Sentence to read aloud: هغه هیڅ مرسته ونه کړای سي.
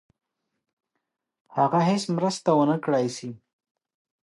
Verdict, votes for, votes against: accepted, 2, 0